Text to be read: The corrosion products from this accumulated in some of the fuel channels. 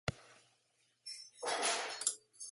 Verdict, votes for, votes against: rejected, 0, 2